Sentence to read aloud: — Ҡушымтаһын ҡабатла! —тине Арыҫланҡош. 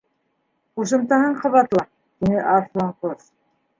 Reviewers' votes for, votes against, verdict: 2, 1, accepted